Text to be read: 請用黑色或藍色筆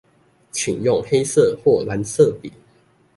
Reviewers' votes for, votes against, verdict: 2, 0, accepted